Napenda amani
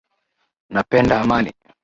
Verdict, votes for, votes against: accepted, 13, 0